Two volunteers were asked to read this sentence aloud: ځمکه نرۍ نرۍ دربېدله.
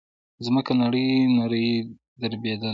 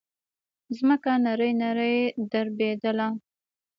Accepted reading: first